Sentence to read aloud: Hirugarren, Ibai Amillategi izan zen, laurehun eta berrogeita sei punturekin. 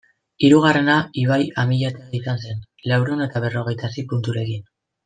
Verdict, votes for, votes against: rejected, 1, 2